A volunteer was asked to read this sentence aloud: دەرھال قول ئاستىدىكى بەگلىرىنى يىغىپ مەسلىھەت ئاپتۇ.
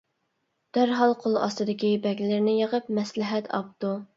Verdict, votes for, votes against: accepted, 2, 0